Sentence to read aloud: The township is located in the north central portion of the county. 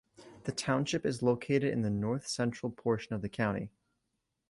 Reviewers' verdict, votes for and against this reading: accepted, 2, 0